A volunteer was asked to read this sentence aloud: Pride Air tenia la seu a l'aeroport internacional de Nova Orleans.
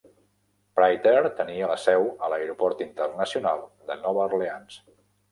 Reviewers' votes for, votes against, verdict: 2, 0, accepted